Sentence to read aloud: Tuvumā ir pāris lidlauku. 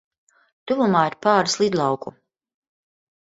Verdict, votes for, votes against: accepted, 2, 0